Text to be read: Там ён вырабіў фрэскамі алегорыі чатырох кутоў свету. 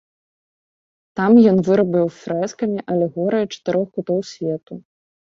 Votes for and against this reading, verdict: 1, 2, rejected